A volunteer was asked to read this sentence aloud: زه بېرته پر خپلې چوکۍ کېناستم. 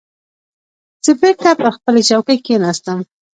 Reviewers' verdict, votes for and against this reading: rejected, 1, 2